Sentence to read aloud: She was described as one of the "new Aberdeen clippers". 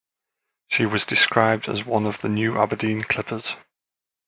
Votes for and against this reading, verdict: 2, 0, accepted